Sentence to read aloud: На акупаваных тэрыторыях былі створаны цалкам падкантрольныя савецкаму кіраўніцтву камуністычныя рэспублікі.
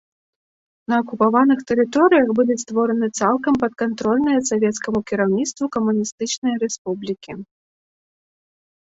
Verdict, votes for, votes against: accepted, 2, 0